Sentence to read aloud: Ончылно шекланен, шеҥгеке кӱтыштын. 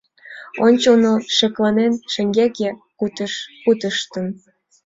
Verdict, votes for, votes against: rejected, 0, 2